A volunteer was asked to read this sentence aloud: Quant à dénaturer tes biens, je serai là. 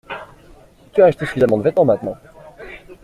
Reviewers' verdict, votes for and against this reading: rejected, 0, 2